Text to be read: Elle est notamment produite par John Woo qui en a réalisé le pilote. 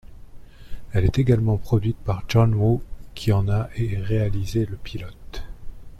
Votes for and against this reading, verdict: 1, 2, rejected